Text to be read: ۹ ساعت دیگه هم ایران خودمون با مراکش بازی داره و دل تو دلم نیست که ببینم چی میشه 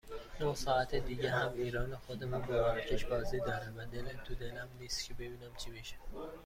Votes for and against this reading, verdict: 0, 2, rejected